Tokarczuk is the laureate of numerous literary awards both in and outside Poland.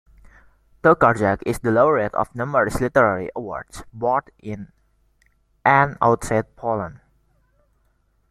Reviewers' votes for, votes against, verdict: 1, 2, rejected